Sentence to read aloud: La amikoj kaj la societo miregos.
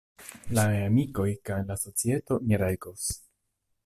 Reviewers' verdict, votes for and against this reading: rejected, 1, 2